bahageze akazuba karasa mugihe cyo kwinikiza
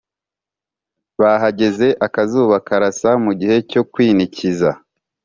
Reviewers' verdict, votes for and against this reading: accepted, 2, 0